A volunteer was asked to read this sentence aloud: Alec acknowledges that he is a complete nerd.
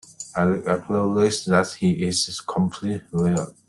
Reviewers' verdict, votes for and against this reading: rejected, 1, 2